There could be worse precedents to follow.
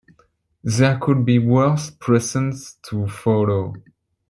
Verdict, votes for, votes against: rejected, 0, 2